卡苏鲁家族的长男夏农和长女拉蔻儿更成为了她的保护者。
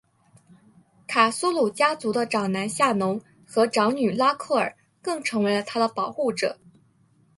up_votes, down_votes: 3, 0